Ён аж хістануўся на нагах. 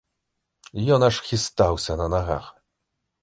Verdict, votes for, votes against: rejected, 0, 2